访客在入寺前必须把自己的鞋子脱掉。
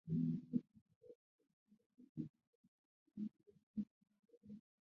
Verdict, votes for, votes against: rejected, 1, 2